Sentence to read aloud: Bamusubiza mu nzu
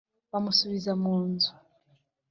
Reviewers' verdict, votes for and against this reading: accepted, 3, 0